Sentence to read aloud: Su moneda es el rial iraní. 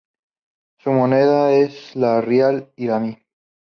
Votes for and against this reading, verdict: 4, 0, accepted